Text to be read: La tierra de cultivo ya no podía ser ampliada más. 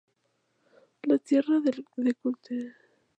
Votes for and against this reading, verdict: 0, 4, rejected